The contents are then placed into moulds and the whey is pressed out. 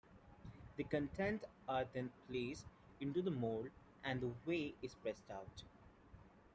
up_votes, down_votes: 0, 2